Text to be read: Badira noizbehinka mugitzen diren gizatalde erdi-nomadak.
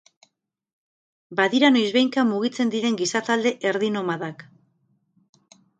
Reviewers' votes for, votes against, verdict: 2, 0, accepted